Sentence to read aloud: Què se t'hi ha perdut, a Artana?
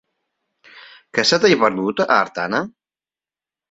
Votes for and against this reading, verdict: 1, 2, rejected